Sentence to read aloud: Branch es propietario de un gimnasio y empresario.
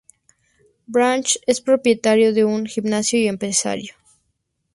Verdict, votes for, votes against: accepted, 2, 0